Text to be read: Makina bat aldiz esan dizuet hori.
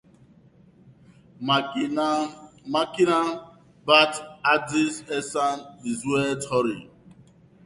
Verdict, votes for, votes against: rejected, 1, 2